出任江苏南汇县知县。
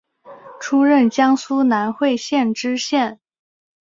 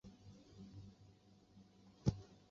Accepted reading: first